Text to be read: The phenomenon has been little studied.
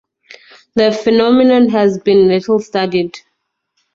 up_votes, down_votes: 0, 2